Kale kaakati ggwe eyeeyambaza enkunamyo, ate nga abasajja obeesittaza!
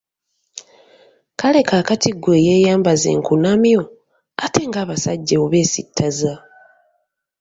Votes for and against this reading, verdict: 2, 0, accepted